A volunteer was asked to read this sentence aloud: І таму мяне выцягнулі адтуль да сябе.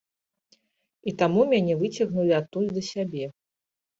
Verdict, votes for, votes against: accepted, 2, 0